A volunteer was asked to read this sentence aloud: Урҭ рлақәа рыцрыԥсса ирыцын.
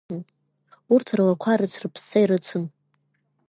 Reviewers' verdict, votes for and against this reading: accepted, 2, 1